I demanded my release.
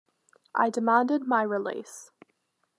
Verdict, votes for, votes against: accepted, 2, 0